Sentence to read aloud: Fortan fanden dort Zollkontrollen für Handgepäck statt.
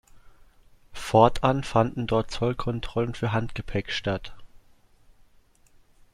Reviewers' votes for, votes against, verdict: 2, 0, accepted